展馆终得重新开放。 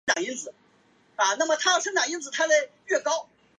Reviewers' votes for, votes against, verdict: 3, 4, rejected